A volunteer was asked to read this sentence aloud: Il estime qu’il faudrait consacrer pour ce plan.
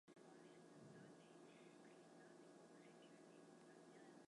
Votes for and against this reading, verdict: 0, 2, rejected